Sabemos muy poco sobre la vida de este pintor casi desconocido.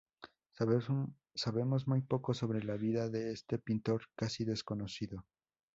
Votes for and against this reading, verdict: 2, 0, accepted